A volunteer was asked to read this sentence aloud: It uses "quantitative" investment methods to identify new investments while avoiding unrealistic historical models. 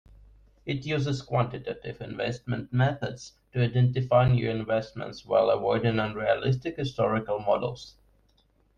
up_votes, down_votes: 2, 1